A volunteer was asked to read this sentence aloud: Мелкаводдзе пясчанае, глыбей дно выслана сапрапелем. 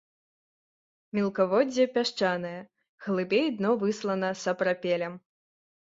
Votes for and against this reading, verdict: 2, 0, accepted